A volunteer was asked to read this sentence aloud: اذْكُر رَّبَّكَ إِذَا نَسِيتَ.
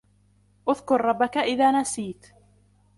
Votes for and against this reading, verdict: 2, 0, accepted